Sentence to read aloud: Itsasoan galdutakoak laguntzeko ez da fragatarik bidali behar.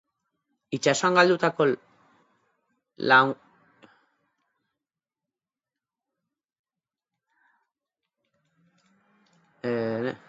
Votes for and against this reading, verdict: 0, 4, rejected